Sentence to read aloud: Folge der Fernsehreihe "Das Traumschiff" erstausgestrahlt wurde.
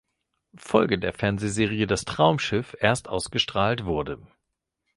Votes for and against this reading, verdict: 2, 0, accepted